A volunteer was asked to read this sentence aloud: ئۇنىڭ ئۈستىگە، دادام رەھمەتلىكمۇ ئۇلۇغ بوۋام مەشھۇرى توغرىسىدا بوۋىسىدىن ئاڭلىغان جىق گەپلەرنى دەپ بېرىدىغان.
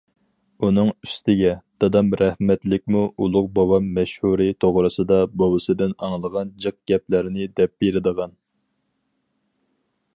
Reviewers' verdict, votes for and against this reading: accepted, 4, 0